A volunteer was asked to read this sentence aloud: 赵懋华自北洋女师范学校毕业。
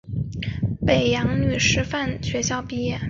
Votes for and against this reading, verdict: 2, 0, accepted